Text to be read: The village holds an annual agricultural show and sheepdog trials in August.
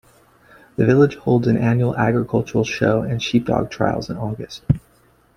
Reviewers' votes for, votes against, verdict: 2, 1, accepted